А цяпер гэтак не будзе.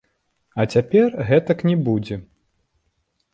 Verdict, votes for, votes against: rejected, 1, 2